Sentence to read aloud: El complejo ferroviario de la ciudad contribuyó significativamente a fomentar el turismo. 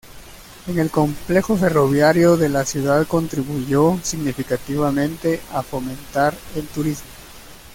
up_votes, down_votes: 1, 2